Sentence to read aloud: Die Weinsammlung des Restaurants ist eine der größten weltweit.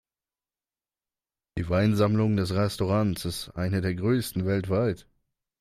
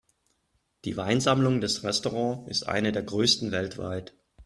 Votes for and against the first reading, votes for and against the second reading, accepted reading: 2, 1, 1, 2, first